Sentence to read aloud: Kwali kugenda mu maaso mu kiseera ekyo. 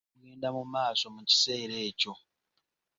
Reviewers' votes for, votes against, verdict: 1, 2, rejected